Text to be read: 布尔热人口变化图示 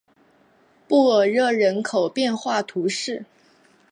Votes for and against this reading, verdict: 2, 1, accepted